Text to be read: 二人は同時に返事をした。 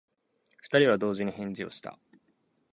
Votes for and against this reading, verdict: 2, 0, accepted